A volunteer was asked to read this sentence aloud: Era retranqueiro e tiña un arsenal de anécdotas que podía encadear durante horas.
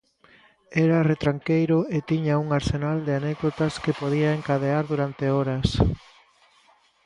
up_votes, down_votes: 2, 0